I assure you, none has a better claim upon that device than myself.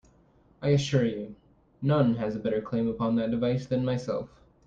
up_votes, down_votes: 2, 0